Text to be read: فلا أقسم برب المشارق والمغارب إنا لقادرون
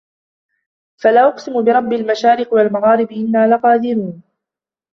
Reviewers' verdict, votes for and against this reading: accepted, 2, 0